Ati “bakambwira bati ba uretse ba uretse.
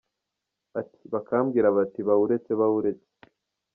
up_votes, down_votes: 2, 0